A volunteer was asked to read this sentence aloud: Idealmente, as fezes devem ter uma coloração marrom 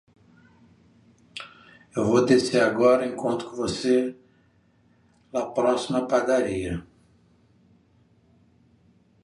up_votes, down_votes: 0, 2